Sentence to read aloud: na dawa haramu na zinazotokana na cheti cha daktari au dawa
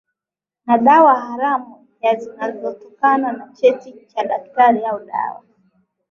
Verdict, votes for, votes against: accepted, 2, 0